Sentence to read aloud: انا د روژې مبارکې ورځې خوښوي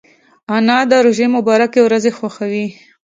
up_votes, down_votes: 2, 0